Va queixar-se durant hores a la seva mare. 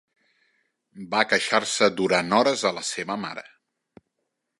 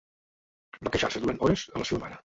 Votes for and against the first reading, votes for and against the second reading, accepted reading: 3, 0, 0, 2, first